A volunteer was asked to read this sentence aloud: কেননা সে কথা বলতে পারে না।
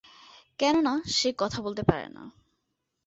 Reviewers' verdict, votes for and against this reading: accepted, 3, 0